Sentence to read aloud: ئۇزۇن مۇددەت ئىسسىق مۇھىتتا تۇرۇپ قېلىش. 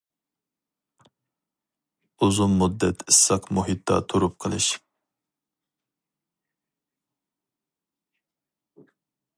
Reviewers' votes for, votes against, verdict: 4, 0, accepted